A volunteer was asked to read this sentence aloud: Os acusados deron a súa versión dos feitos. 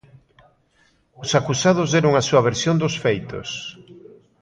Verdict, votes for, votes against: accepted, 2, 0